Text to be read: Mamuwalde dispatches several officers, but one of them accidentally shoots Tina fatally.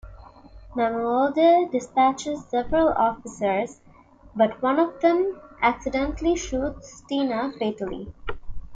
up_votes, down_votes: 2, 0